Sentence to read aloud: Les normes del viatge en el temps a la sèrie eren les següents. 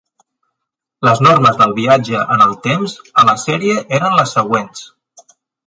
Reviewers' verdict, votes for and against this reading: accepted, 3, 1